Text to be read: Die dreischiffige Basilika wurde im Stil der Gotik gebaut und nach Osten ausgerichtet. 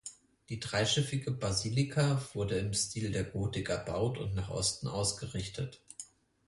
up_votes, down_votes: 0, 4